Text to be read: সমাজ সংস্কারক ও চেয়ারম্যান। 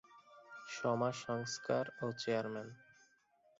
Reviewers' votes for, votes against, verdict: 0, 2, rejected